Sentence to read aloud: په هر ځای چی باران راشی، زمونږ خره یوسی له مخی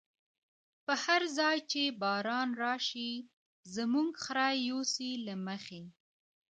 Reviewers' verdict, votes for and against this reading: accepted, 2, 1